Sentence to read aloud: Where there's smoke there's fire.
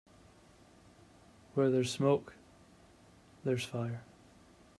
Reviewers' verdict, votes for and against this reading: accepted, 2, 0